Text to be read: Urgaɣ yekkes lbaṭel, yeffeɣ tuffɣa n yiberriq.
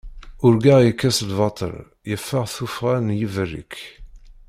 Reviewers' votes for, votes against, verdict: 0, 2, rejected